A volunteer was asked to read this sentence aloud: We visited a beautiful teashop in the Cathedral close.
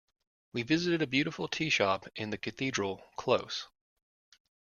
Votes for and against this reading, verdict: 2, 0, accepted